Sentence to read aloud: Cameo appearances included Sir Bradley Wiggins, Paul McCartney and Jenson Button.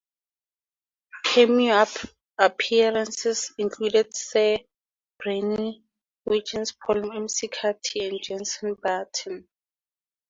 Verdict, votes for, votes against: accepted, 4, 0